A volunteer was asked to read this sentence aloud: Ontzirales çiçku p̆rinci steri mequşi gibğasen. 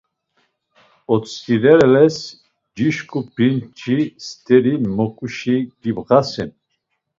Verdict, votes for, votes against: rejected, 1, 2